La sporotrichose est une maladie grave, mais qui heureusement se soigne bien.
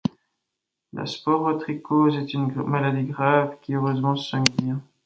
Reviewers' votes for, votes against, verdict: 1, 2, rejected